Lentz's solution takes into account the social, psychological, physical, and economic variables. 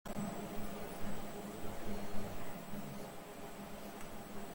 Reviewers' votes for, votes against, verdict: 0, 2, rejected